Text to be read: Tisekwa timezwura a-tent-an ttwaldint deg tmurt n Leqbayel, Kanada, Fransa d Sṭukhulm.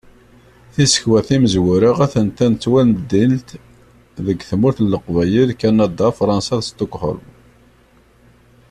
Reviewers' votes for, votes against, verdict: 2, 0, accepted